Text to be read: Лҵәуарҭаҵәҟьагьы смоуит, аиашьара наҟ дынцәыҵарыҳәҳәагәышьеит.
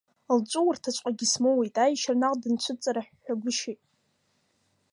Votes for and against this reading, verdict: 2, 0, accepted